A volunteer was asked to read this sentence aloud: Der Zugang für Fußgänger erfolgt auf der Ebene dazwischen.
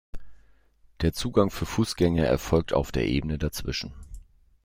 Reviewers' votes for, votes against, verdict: 2, 0, accepted